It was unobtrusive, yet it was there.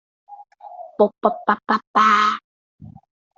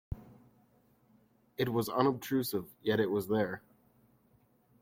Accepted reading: second